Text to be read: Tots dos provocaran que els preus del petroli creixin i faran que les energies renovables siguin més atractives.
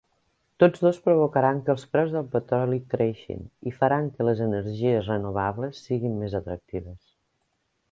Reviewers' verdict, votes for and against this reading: accepted, 3, 0